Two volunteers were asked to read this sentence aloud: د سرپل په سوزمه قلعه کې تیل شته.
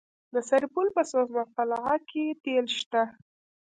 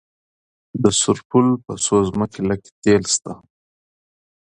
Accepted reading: second